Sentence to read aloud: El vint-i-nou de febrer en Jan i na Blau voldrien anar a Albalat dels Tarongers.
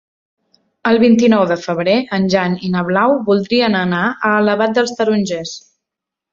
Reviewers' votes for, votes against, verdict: 1, 2, rejected